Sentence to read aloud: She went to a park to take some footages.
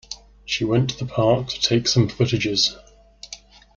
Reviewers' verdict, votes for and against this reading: rejected, 1, 2